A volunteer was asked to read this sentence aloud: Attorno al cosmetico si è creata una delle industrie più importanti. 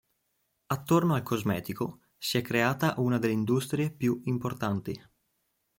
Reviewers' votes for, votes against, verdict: 2, 0, accepted